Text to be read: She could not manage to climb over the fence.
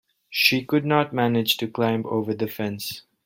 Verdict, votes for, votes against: accepted, 2, 0